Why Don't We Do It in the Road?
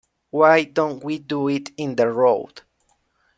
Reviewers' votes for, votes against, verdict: 0, 2, rejected